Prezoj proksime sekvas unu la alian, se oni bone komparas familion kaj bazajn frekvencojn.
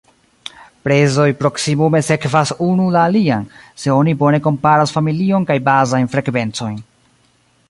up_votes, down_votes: 0, 2